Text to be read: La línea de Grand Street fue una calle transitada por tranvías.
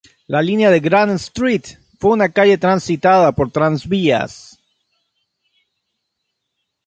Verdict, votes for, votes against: rejected, 0, 3